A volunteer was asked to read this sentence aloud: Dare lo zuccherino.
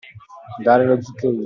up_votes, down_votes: 0, 2